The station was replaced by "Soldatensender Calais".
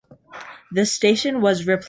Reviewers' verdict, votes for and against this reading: rejected, 0, 2